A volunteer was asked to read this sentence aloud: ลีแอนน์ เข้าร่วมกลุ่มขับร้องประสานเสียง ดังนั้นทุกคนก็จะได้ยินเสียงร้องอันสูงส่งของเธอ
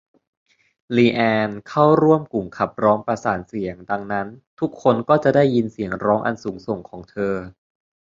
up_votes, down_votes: 2, 0